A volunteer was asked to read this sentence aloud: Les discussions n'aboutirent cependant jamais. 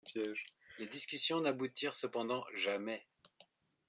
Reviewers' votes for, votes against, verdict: 1, 2, rejected